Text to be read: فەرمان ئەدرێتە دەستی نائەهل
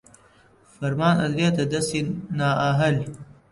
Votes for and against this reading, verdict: 0, 2, rejected